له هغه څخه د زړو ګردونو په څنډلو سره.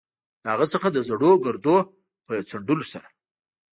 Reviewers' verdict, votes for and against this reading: accepted, 2, 0